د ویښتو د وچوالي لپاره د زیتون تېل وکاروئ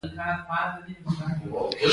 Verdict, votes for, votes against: accepted, 3, 0